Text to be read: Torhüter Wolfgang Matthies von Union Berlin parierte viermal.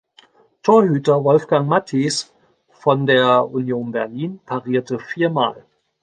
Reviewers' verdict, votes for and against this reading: rejected, 0, 2